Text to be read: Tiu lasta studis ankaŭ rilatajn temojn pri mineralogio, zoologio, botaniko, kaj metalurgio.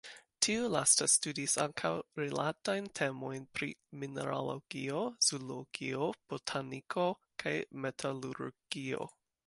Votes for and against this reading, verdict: 2, 1, accepted